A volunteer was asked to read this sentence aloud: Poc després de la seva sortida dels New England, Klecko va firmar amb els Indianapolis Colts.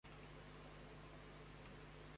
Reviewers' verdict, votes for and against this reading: rejected, 0, 2